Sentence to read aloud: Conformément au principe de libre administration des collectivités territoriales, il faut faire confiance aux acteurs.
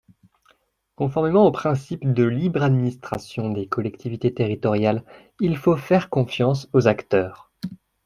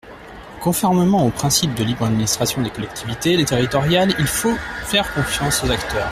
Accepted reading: first